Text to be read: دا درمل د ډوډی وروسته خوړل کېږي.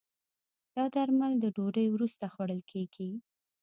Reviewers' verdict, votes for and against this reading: accepted, 2, 1